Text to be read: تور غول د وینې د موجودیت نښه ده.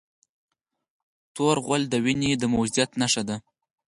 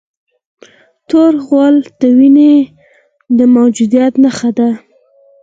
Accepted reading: second